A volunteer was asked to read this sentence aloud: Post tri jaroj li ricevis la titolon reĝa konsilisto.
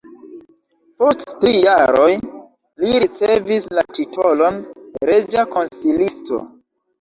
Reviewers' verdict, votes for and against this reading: accepted, 2, 1